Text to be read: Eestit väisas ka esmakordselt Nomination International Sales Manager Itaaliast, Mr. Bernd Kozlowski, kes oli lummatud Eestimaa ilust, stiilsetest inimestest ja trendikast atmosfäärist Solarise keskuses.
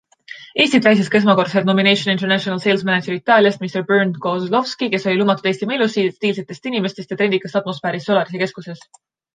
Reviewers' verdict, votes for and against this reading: rejected, 0, 2